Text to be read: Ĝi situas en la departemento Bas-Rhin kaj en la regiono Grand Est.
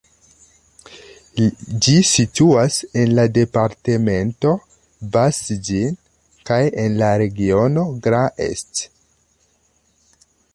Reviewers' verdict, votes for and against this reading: rejected, 0, 2